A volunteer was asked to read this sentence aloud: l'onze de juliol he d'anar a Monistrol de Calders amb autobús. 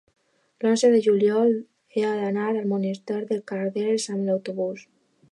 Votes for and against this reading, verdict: 0, 2, rejected